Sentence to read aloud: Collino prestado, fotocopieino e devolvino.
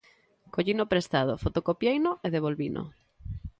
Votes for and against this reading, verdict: 2, 0, accepted